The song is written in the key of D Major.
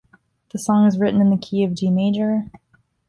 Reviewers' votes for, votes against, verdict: 2, 0, accepted